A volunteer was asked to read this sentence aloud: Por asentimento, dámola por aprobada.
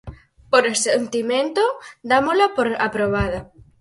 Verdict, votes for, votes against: accepted, 4, 2